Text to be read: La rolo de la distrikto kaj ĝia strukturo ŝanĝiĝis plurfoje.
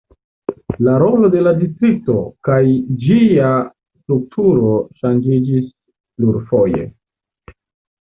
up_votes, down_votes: 1, 2